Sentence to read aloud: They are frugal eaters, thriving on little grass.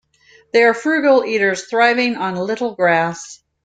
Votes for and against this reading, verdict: 2, 0, accepted